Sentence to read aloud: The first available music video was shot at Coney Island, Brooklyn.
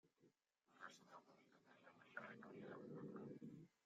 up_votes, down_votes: 0, 2